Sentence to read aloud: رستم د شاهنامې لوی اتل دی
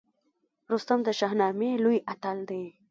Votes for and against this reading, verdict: 1, 2, rejected